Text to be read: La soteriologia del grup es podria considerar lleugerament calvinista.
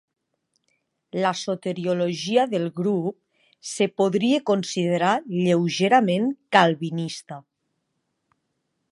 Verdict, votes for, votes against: accepted, 2, 0